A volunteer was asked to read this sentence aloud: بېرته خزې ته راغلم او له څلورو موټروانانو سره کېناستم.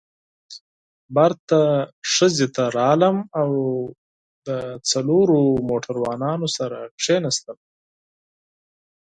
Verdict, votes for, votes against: rejected, 0, 4